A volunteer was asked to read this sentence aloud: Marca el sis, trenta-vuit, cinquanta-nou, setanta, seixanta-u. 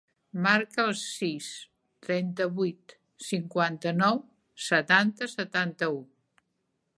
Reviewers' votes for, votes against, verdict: 0, 3, rejected